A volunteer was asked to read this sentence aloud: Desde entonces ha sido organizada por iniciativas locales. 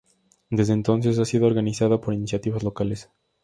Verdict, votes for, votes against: accepted, 2, 0